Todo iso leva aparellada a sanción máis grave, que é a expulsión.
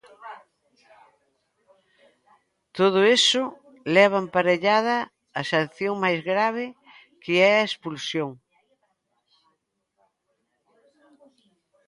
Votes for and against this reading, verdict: 1, 2, rejected